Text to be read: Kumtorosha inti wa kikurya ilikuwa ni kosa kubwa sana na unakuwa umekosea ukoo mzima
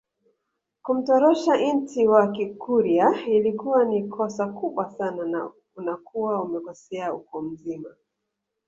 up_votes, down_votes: 2, 1